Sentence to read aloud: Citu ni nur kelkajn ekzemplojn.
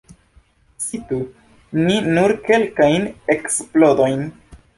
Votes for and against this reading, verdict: 1, 2, rejected